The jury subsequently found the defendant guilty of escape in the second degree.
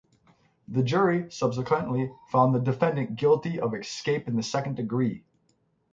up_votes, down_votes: 3, 3